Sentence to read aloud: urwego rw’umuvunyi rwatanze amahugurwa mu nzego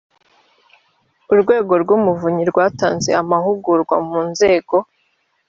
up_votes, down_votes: 2, 0